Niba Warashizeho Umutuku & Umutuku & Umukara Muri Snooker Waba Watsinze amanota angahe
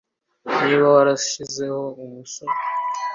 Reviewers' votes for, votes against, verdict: 0, 2, rejected